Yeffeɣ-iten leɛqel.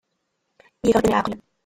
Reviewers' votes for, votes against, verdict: 0, 2, rejected